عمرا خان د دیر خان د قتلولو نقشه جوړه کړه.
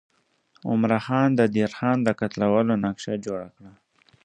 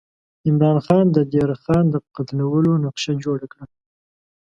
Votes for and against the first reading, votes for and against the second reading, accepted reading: 2, 0, 1, 4, first